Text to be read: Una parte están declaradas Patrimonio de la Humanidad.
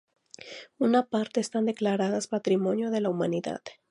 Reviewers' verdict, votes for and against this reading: accepted, 2, 0